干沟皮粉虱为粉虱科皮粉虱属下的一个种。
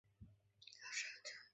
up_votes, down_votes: 1, 2